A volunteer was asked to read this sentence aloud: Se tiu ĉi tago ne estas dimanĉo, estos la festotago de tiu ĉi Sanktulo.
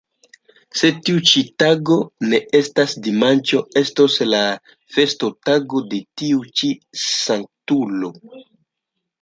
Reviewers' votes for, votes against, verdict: 2, 0, accepted